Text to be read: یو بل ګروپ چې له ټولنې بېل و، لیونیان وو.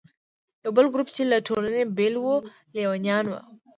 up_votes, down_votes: 2, 0